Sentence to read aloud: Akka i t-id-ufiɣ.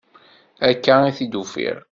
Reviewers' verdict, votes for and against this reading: accepted, 2, 0